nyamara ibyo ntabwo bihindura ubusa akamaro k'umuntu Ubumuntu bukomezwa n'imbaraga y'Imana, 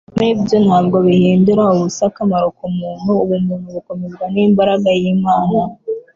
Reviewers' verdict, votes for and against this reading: rejected, 0, 2